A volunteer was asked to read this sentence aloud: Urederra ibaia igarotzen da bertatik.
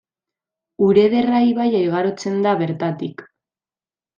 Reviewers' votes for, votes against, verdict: 2, 1, accepted